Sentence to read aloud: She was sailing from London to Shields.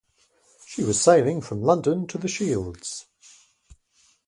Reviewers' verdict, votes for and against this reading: rejected, 0, 2